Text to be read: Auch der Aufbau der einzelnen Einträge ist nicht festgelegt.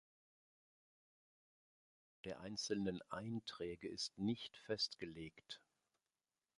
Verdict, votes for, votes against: rejected, 0, 3